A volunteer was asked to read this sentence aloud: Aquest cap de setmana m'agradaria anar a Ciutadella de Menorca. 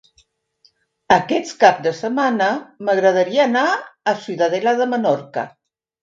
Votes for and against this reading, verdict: 3, 2, accepted